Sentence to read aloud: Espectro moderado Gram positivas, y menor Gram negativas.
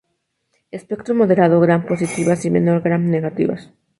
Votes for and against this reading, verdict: 2, 4, rejected